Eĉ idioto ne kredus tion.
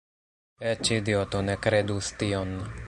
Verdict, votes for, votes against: rejected, 1, 2